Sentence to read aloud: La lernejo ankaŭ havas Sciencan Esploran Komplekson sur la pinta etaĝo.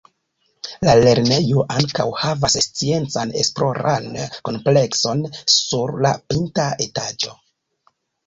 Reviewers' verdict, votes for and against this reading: rejected, 0, 2